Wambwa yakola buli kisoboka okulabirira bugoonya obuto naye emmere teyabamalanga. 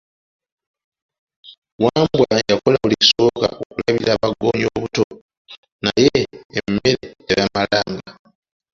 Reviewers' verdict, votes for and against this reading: rejected, 0, 2